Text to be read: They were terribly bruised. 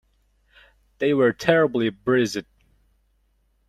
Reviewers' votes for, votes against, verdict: 0, 2, rejected